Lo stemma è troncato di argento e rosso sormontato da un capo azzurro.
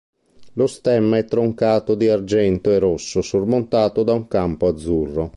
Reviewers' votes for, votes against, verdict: 0, 2, rejected